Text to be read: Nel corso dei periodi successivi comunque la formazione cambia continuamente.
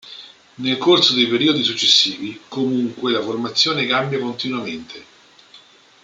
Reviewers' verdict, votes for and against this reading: rejected, 1, 2